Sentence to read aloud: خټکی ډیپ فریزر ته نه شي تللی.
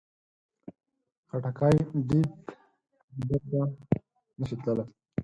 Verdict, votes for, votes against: rejected, 0, 4